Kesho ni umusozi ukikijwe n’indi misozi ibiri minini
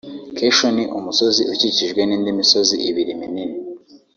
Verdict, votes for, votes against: rejected, 1, 2